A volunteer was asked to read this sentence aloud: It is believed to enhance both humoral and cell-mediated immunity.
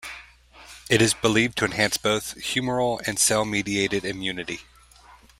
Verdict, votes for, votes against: accepted, 2, 0